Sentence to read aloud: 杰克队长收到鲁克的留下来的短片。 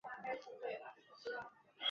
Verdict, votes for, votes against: rejected, 0, 3